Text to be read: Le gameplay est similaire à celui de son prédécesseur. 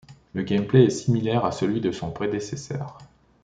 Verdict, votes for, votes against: accepted, 2, 0